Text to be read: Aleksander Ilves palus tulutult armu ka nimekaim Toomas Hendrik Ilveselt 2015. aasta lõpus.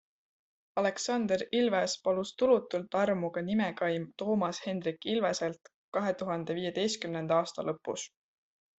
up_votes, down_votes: 0, 2